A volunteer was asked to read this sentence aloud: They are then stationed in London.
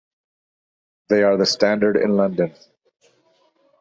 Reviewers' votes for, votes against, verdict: 1, 2, rejected